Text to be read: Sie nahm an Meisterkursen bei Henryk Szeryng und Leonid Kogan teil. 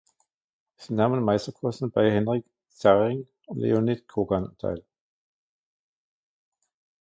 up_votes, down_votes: 1, 2